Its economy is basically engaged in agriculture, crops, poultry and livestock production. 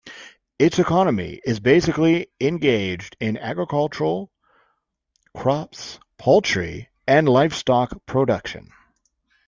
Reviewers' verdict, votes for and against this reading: rejected, 0, 2